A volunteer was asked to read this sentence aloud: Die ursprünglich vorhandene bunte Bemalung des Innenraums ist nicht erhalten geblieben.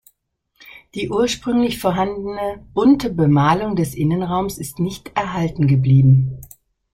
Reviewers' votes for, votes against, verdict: 2, 0, accepted